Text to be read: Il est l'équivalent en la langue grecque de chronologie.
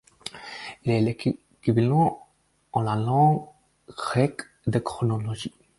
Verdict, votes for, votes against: rejected, 0, 4